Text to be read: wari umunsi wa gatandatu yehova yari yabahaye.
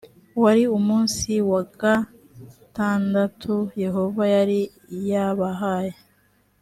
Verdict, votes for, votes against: accepted, 2, 0